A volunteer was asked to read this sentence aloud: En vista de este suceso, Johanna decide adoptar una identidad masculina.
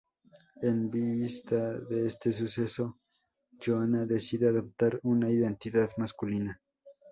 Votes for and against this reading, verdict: 2, 2, rejected